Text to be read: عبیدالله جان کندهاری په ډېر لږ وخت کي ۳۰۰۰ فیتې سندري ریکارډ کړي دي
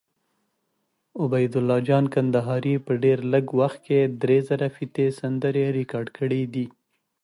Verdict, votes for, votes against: rejected, 0, 2